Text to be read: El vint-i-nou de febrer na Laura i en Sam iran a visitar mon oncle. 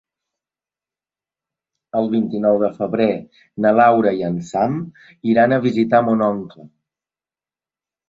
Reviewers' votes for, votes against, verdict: 2, 0, accepted